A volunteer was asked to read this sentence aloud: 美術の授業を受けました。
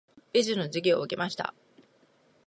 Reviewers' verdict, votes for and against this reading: rejected, 0, 2